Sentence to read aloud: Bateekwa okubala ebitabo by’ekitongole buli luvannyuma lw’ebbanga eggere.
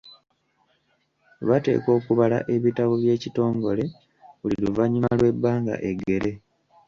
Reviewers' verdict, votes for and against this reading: rejected, 1, 2